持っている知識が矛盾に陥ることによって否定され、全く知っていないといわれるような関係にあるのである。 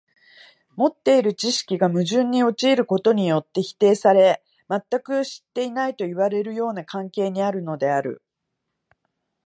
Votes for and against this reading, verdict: 0, 2, rejected